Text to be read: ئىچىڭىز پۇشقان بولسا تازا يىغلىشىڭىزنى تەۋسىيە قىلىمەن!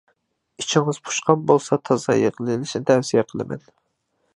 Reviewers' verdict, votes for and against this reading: rejected, 0, 2